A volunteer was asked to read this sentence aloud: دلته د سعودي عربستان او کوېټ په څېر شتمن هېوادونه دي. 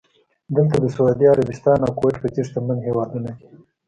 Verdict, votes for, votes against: accepted, 2, 0